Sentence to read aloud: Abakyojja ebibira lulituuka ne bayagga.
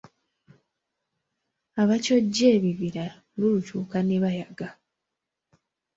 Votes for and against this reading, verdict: 0, 2, rejected